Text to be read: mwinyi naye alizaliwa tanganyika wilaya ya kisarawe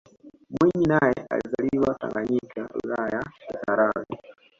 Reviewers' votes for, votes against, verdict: 2, 1, accepted